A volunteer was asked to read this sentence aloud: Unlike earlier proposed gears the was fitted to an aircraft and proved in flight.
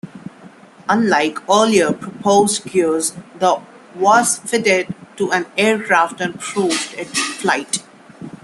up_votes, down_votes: 1, 2